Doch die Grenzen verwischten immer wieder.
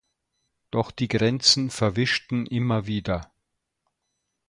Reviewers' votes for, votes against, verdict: 2, 0, accepted